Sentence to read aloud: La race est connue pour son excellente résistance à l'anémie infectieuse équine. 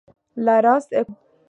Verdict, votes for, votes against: rejected, 1, 2